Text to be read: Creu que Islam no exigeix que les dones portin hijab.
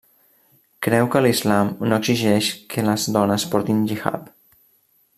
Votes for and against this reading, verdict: 1, 2, rejected